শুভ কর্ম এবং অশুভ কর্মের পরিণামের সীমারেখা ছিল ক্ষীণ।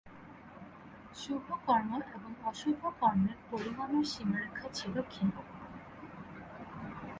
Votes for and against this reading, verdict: 0, 2, rejected